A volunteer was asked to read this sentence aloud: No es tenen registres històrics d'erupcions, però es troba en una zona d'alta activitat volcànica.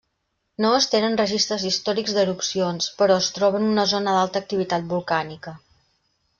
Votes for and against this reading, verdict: 3, 0, accepted